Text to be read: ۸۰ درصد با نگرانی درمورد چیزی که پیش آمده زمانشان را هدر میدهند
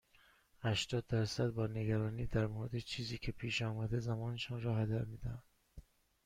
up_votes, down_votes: 0, 2